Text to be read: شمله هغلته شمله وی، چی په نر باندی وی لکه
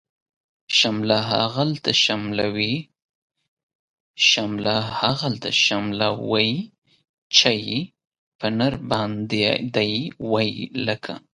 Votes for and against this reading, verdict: 1, 2, rejected